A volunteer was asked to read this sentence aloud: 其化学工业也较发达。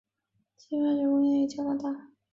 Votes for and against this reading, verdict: 0, 3, rejected